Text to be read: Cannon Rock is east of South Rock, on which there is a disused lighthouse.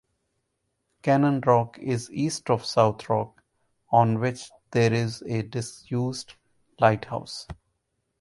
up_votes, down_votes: 2, 0